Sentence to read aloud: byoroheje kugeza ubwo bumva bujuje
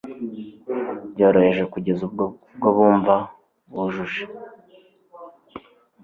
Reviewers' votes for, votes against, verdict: 2, 0, accepted